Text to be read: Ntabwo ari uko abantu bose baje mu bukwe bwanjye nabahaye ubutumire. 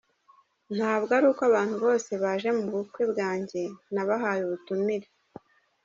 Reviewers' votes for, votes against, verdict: 2, 1, accepted